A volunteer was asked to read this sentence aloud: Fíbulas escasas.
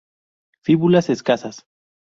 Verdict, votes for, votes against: accepted, 2, 0